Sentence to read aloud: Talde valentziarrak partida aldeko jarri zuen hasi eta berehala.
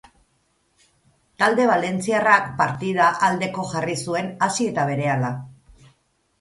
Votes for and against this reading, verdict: 4, 0, accepted